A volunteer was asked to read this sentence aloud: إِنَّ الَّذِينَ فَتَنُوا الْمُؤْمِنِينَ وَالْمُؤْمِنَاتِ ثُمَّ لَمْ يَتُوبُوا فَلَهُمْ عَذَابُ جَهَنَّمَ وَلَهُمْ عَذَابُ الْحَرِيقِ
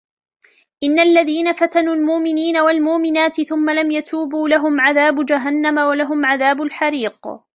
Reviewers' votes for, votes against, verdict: 2, 3, rejected